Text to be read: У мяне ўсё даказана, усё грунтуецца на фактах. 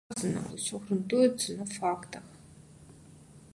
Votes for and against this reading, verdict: 0, 2, rejected